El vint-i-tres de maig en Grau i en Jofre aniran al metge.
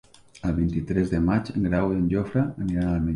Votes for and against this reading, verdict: 0, 2, rejected